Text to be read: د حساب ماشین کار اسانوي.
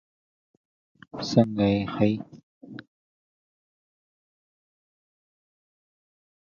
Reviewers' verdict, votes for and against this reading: rejected, 0, 2